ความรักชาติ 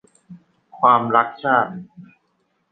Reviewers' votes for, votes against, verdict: 2, 1, accepted